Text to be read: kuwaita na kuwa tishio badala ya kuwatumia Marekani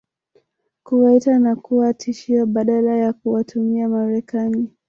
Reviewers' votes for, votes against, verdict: 3, 1, accepted